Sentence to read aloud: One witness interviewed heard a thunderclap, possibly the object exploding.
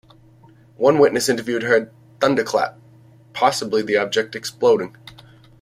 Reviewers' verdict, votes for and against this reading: rejected, 1, 2